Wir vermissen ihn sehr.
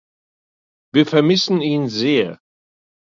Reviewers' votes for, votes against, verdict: 2, 0, accepted